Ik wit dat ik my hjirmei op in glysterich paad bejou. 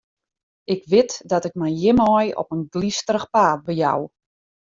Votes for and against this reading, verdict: 2, 0, accepted